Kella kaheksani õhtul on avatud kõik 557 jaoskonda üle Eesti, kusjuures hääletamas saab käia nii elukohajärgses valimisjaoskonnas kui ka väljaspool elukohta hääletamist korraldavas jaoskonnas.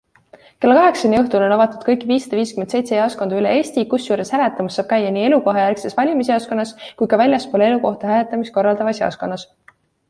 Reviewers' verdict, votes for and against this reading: rejected, 0, 2